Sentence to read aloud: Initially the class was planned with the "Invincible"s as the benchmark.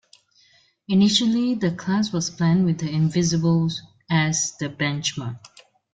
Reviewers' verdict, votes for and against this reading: accepted, 2, 1